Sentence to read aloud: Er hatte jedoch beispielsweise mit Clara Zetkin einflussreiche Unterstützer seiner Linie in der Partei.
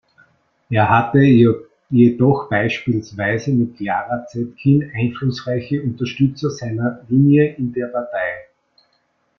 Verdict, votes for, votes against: rejected, 0, 2